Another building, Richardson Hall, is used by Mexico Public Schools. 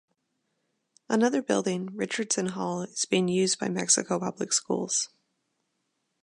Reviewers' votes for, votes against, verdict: 1, 2, rejected